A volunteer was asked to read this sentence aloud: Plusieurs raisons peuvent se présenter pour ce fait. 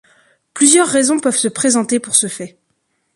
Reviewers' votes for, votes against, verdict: 2, 0, accepted